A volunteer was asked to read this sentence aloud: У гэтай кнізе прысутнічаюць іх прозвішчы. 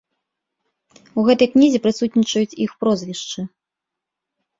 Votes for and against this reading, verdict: 1, 2, rejected